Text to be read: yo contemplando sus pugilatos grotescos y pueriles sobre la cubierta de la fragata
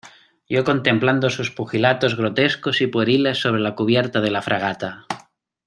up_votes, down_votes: 2, 0